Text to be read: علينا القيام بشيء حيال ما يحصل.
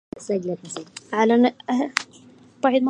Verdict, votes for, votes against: rejected, 0, 2